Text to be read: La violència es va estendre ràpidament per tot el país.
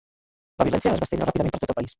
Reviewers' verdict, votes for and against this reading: rejected, 1, 2